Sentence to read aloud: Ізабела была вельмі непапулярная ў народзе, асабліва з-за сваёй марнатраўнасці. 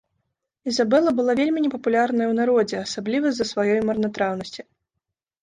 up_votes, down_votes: 2, 0